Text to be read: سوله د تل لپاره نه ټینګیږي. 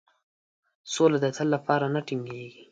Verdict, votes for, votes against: accepted, 2, 0